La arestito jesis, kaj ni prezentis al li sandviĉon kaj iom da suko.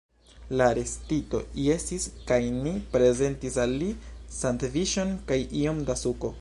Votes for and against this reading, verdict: 1, 2, rejected